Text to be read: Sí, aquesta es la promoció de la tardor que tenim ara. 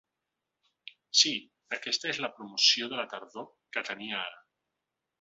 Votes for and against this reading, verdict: 1, 3, rejected